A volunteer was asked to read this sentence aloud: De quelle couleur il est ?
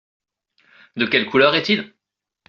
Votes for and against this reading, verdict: 1, 2, rejected